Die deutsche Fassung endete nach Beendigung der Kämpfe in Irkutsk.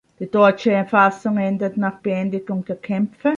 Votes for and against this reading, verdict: 0, 2, rejected